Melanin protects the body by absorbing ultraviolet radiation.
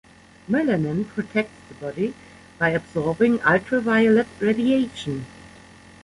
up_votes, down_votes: 0, 2